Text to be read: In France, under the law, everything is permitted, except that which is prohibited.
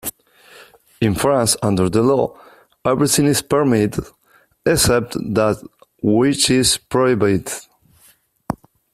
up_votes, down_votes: 2, 1